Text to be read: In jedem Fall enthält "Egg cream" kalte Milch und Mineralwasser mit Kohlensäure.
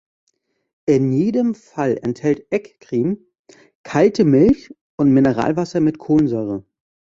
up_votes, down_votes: 2, 0